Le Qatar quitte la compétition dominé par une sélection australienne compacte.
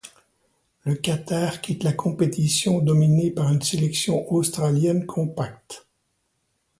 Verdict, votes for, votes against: accepted, 2, 0